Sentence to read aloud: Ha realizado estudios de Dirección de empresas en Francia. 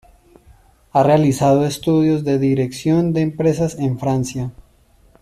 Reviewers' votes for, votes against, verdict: 2, 0, accepted